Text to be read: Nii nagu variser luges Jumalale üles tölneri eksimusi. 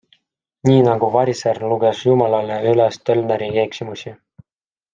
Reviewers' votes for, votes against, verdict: 2, 0, accepted